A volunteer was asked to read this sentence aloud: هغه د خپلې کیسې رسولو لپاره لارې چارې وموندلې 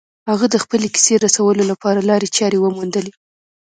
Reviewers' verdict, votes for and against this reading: accepted, 2, 0